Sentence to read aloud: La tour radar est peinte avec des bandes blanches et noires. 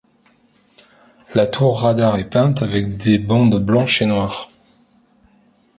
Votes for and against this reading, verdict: 1, 2, rejected